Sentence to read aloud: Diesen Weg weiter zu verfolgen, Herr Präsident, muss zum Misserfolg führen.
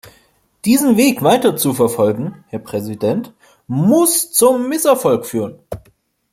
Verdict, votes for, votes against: accepted, 2, 0